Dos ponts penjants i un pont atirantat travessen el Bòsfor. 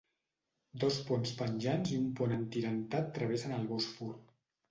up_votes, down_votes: 2, 0